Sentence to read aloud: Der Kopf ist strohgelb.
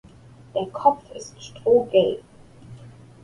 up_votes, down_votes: 3, 0